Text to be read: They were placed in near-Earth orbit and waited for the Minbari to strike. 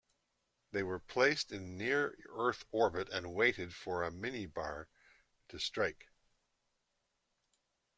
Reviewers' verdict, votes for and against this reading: rejected, 1, 2